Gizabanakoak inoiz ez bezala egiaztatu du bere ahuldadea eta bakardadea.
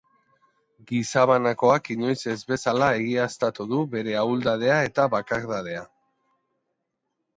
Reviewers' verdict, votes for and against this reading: accepted, 3, 0